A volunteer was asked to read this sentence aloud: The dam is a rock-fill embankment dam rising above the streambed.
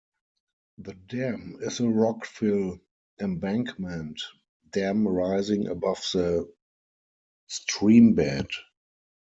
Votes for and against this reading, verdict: 0, 4, rejected